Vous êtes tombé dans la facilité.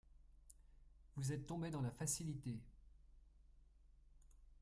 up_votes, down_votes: 0, 2